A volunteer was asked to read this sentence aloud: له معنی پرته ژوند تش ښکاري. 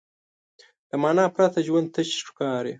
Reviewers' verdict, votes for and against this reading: accepted, 2, 1